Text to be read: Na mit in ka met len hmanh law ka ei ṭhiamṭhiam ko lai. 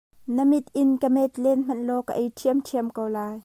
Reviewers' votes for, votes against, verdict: 2, 1, accepted